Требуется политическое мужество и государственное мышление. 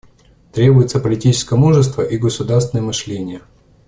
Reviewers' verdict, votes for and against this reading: accepted, 2, 0